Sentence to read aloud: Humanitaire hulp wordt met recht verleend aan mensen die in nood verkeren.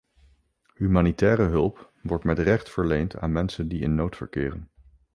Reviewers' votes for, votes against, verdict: 2, 0, accepted